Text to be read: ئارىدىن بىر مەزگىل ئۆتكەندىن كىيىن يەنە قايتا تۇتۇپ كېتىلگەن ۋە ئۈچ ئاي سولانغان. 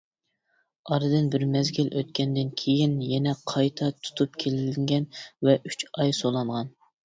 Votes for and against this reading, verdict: 0, 2, rejected